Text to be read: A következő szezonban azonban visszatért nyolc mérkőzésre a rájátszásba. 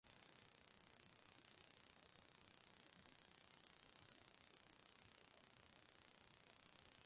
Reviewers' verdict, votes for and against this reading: rejected, 0, 2